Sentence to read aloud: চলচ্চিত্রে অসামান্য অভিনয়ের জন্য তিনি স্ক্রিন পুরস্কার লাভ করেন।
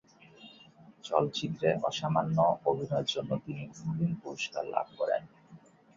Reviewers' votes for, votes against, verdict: 0, 2, rejected